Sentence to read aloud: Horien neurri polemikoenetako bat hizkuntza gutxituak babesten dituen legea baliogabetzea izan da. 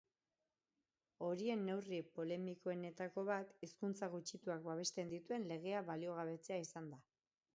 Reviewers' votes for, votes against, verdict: 6, 0, accepted